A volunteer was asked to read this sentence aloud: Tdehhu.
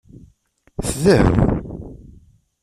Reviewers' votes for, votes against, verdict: 1, 2, rejected